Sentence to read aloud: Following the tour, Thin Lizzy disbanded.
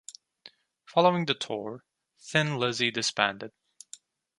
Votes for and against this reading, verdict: 2, 0, accepted